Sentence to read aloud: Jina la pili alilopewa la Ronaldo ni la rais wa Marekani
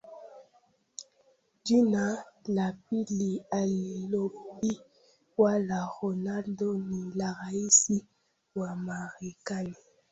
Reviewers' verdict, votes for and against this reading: rejected, 0, 2